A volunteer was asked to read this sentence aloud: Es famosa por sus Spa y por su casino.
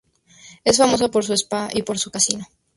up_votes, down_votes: 0, 2